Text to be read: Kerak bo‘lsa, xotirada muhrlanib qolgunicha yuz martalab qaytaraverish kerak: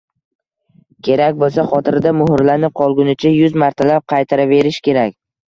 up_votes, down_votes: 2, 0